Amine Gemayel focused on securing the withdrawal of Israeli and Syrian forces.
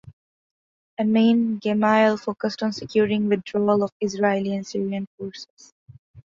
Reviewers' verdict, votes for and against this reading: accepted, 2, 0